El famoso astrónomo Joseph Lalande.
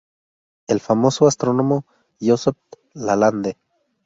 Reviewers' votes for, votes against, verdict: 2, 0, accepted